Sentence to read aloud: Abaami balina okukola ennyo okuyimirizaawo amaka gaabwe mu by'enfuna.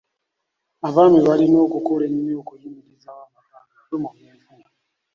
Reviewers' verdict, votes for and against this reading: rejected, 0, 2